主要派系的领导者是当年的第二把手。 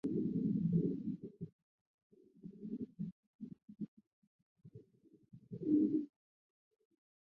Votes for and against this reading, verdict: 0, 2, rejected